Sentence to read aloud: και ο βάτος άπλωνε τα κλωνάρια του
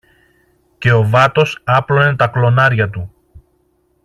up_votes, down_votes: 2, 0